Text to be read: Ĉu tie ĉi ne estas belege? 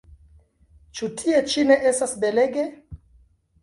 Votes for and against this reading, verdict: 0, 2, rejected